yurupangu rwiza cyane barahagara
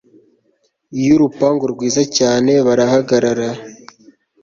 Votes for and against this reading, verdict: 2, 0, accepted